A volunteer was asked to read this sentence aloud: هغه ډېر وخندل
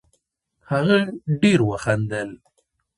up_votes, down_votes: 2, 1